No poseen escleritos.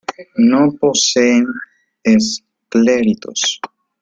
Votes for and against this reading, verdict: 2, 0, accepted